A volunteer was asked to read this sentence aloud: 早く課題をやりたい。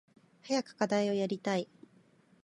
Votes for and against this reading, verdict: 3, 1, accepted